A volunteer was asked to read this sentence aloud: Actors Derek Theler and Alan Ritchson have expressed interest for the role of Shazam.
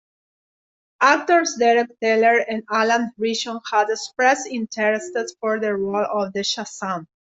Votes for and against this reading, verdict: 0, 2, rejected